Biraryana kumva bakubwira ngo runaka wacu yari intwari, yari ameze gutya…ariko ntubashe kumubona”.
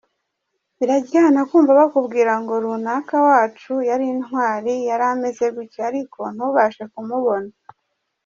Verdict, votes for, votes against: accepted, 2, 1